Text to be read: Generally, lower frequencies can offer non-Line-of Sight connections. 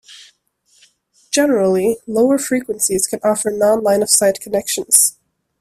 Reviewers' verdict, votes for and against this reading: accepted, 2, 0